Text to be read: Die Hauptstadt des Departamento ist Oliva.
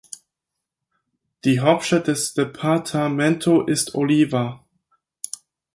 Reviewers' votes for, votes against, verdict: 6, 4, accepted